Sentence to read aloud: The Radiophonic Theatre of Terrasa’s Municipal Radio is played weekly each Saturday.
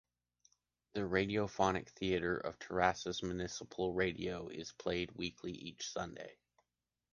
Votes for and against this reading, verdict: 1, 2, rejected